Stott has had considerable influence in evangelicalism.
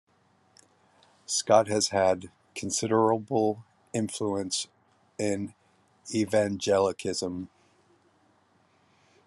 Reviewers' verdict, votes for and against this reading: rejected, 1, 2